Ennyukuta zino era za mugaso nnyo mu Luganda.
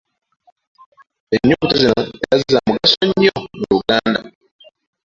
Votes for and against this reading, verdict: 0, 2, rejected